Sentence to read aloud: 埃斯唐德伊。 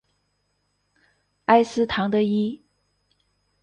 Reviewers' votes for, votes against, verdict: 0, 2, rejected